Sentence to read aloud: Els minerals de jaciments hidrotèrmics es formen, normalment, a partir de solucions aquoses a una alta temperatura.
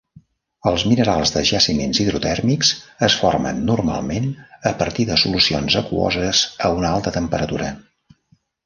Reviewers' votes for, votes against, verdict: 2, 0, accepted